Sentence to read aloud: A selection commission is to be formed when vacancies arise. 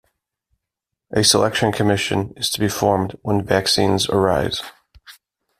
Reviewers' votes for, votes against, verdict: 0, 2, rejected